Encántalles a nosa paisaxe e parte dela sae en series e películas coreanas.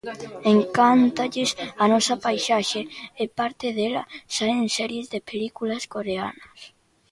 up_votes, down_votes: 0, 2